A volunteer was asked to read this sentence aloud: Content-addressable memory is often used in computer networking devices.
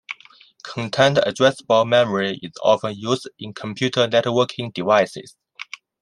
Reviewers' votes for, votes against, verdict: 2, 0, accepted